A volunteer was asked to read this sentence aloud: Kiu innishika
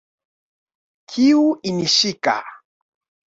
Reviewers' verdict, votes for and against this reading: accepted, 2, 0